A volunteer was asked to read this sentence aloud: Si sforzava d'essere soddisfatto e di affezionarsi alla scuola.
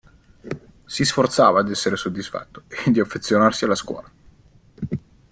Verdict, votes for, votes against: accepted, 2, 0